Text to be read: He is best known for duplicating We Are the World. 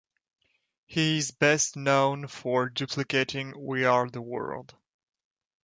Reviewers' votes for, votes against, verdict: 2, 0, accepted